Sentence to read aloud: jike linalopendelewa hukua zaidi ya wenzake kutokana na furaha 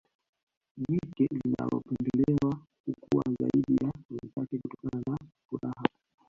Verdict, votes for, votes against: rejected, 0, 3